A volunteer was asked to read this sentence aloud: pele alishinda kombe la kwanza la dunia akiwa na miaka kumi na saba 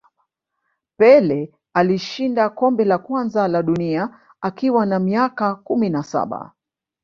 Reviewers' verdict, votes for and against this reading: rejected, 1, 2